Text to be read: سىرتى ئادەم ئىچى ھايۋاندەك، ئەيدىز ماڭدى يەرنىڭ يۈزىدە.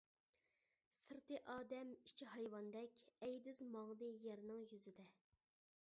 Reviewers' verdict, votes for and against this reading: accepted, 2, 0